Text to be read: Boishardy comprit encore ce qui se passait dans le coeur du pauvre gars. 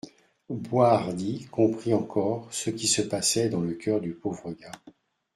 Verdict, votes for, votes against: accepted, 2, 0